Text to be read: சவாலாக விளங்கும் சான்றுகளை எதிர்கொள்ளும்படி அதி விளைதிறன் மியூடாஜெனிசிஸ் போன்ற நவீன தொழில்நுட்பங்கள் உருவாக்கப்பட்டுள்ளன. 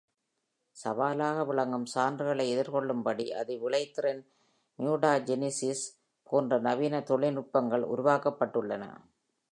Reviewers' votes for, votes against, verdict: 1, 2, rejected